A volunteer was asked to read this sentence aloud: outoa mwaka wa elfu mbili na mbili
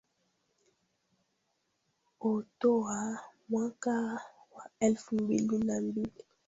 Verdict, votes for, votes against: rejected, 0, 3